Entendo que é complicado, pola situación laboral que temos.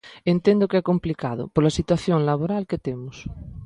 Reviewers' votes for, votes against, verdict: 3, 0, accepted